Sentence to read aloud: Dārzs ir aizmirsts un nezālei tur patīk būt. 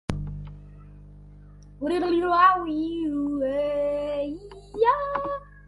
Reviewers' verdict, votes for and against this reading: rejected, 0, 2